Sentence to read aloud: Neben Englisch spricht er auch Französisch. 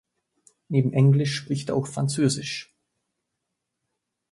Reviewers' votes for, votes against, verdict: 1, 2, rejected